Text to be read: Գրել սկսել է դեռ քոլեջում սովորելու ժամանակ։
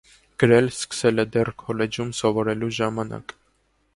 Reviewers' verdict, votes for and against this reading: accepted, 2, 0